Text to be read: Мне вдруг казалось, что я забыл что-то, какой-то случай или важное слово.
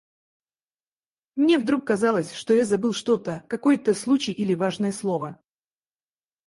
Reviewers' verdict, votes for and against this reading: rejected, 0, 4